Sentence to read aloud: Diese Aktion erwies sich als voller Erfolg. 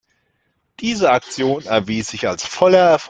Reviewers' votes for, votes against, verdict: 0, 2, rejected